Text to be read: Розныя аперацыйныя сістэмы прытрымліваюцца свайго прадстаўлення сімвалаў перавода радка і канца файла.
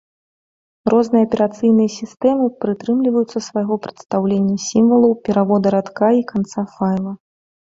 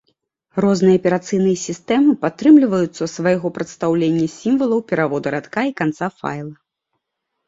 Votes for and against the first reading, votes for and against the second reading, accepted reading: 2, 0, 0, 2, first